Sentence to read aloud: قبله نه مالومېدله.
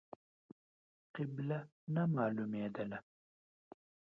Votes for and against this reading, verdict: 1, 2, rejected